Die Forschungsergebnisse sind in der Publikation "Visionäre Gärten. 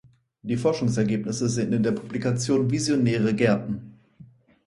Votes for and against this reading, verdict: 4, 0, accepted